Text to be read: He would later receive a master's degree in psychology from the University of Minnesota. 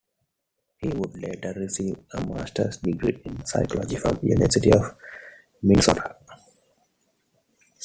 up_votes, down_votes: 2, 1